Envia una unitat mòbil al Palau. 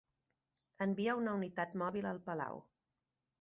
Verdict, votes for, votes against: accepted, 3, 0